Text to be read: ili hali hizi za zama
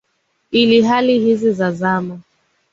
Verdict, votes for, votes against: accepted, 2, 0